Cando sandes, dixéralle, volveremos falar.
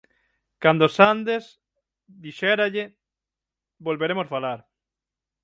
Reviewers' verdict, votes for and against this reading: accepted, 6, 0